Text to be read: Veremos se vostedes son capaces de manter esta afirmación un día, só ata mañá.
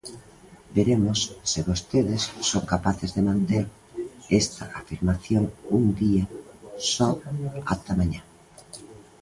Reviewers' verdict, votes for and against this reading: rejected, 1, 2